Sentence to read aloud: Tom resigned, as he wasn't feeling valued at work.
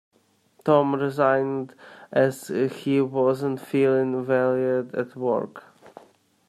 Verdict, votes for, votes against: rejected, 1, 2